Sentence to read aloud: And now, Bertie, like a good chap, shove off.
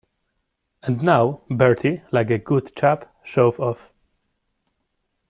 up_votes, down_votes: 2, 0